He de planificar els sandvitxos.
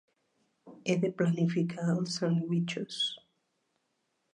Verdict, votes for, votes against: rejected, 0, 2